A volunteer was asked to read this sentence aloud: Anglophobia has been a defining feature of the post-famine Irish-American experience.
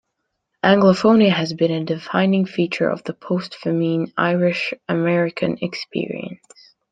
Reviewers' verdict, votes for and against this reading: accepted, 3, 2